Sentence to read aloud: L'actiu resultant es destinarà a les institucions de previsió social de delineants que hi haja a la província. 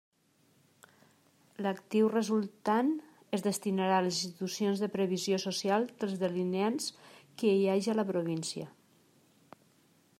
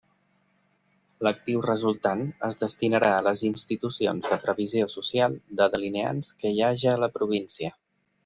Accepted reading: second